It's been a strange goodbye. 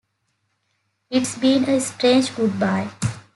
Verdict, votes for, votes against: accepted, 2, 0